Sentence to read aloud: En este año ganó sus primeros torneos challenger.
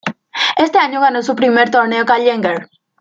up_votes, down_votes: 1, 2